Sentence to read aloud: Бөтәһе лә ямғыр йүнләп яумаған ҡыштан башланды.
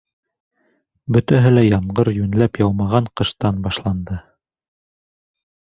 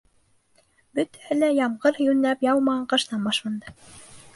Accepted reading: first